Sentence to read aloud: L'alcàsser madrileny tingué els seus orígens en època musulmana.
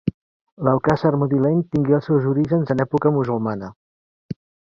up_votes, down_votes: 1, 2